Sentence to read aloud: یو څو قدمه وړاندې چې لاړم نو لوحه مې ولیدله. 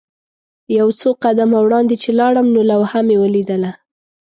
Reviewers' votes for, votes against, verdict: 2, 0, accepted